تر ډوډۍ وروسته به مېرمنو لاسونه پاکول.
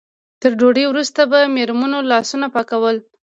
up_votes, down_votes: 2, 0